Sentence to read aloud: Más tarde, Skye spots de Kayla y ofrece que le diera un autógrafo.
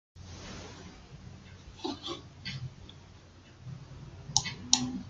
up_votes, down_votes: 0, 2